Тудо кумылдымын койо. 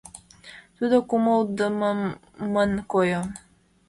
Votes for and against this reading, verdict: 1, 2, rejected